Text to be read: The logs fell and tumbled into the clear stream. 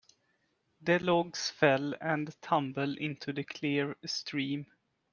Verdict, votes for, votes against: rejected, 1, 2